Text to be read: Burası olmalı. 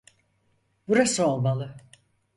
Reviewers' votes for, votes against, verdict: 4, 0, accepted